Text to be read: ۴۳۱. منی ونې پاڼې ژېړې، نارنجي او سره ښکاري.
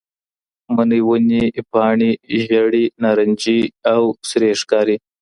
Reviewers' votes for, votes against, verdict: 0, 2, rejected